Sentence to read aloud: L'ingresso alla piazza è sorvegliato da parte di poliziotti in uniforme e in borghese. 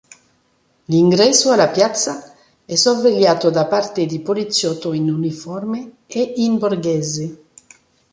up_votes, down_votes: 1, 2